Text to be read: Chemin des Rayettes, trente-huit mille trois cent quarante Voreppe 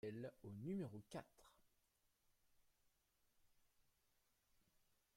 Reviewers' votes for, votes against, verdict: 0, 2, rejected